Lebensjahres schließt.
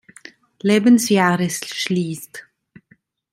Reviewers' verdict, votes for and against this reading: accepted, 2, 0